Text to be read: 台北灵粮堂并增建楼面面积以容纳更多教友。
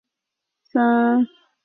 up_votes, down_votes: 0, 6